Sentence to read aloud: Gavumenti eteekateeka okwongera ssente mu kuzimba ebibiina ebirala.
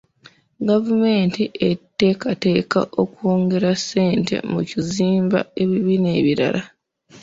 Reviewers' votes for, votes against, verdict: 2, 0, accepted